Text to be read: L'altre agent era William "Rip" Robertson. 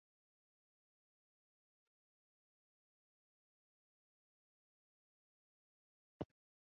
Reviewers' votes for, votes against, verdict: 0, 4, rejected